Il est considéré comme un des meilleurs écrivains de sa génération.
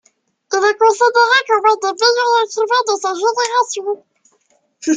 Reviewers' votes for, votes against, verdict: 2, 0, accepted